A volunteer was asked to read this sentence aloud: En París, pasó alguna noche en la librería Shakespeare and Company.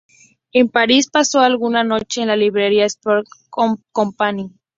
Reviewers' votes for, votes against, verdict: 0, 2, rejected